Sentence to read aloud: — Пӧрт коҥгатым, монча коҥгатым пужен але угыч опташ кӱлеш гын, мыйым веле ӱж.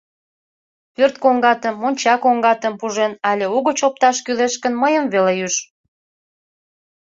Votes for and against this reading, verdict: 2, 0, accepted